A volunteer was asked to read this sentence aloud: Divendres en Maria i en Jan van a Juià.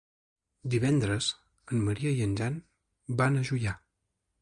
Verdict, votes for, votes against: accepted, 2, 0